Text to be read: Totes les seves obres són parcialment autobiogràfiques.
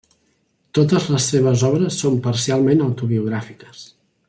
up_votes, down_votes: 3, 0